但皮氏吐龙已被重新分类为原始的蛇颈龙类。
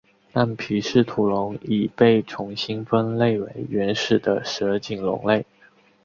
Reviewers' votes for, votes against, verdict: 2, 0, accepted